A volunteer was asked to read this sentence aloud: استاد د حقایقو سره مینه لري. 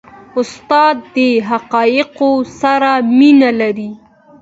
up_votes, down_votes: 2, 1